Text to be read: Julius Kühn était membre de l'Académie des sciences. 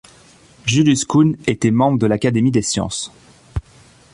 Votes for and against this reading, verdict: 0, 2, rejected